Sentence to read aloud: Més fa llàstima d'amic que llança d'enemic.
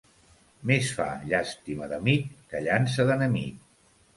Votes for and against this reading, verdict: 2, 0, accepted